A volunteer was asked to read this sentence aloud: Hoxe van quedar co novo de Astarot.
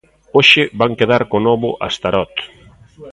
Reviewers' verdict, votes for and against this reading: rejected, 0, 2